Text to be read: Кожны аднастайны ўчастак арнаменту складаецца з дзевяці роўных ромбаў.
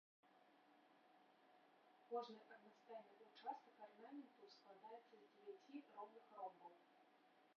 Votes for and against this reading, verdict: 1, 2, rejected